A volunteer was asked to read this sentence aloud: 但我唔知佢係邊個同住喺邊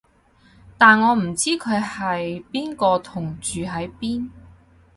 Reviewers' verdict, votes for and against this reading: accepted, 4, 0